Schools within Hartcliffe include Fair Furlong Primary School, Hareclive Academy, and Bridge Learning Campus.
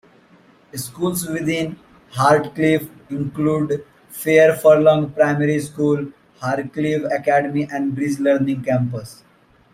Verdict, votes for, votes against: accepted, 2, 0